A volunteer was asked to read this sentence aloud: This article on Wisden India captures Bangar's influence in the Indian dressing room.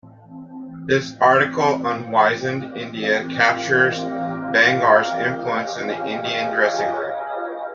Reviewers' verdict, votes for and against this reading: accepted, 2, 1